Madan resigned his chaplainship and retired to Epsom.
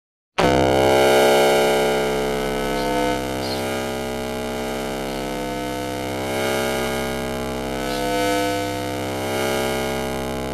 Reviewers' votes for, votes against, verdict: 0, 2, rejected